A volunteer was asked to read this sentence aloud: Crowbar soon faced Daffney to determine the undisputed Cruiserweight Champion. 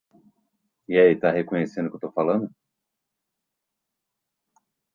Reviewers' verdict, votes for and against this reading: rejected, 0, 2